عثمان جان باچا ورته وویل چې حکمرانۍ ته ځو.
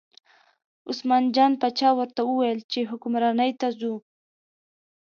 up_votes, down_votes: 2, 0